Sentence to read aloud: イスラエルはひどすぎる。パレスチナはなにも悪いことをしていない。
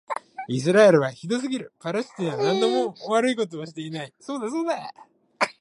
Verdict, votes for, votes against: rejected, 1, 2